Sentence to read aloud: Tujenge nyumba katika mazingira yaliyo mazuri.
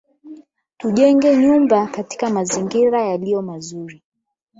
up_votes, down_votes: 4, 8